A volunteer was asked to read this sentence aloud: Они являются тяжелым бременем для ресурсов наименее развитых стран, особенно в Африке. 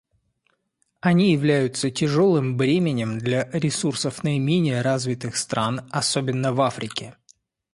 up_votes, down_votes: 2, 0